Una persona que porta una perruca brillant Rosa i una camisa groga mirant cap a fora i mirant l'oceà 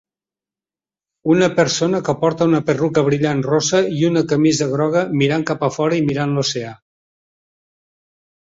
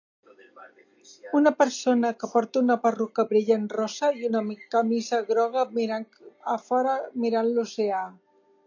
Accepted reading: first